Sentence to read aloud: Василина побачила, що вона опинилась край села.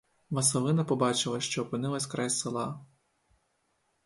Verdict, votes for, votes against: rejected, 0, 2